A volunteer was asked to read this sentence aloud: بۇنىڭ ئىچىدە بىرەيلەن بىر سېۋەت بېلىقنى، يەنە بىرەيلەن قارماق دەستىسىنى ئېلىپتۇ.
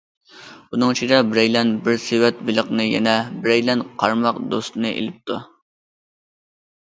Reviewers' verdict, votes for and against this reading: rejected, 0, 2